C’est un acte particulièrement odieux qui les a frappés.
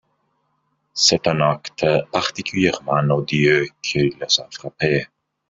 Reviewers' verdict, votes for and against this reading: rejected, 0, 2